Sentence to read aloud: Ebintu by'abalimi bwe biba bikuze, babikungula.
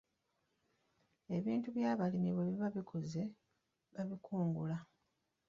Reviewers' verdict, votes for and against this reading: accepted, 2, 0